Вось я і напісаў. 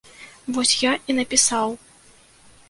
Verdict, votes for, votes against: accepted, 2, 1